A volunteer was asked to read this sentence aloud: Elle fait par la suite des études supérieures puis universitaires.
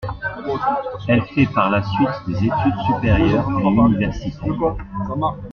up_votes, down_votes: 1, 2